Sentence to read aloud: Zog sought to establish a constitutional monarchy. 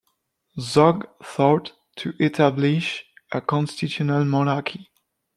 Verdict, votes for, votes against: rejected, 0, 2